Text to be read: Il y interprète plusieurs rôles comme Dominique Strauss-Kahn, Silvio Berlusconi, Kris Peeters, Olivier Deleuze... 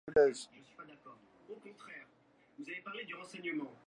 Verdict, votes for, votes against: rejected, 0, 2